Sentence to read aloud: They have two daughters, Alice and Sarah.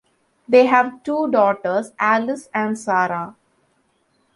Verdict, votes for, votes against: accepted, 2, 0